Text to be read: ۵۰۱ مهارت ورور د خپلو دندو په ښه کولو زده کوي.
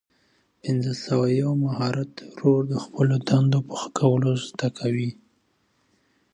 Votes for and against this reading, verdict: 0, 2, rejected